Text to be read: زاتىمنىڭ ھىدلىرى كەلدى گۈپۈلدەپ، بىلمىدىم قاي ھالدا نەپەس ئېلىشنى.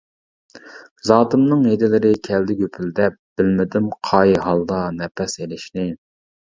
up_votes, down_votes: 0, 2